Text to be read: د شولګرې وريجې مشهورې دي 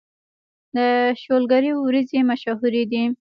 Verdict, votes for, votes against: rejected, 1, 2